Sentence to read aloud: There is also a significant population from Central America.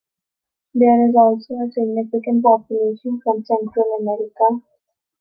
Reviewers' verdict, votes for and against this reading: accepted, 2, 0